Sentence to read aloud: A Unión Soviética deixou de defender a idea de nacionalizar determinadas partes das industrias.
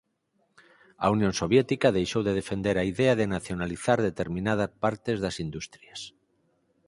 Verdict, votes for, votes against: rejected, 2, 4